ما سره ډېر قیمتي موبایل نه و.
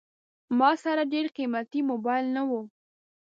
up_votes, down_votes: 2, 0